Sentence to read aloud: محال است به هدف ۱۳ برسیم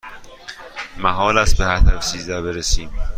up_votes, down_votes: 0, 2